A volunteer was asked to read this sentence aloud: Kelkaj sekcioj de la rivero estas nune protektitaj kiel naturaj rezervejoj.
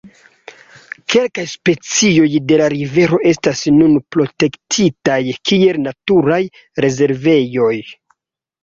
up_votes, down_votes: 0, 2